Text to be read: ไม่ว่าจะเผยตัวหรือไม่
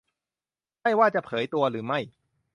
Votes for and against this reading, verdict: 2, 0, accepted